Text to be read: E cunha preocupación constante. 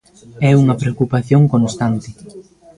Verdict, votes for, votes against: rejected, 0, 2